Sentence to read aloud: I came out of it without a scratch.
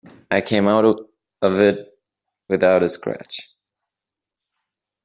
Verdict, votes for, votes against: accepted, 2, 0